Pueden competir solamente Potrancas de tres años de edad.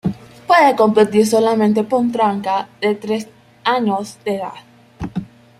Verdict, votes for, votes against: rejected, 1, 2